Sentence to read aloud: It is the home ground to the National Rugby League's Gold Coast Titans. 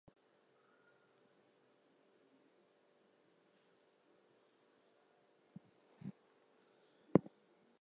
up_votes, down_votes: 0, 4